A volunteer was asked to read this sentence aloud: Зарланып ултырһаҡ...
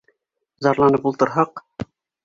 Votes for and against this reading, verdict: 2, 0, accepted